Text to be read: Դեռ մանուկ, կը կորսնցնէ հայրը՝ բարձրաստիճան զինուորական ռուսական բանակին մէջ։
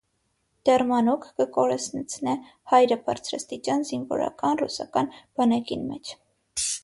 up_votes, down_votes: 3, 3